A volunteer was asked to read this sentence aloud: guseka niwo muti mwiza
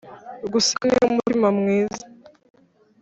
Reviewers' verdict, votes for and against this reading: rejected, 2, 3